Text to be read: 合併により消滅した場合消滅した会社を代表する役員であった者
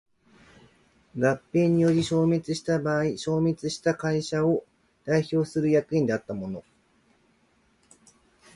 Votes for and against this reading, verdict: 2, 0, accepted